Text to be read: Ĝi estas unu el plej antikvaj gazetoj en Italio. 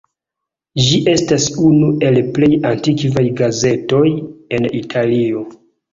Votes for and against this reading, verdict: 2, 1, accepted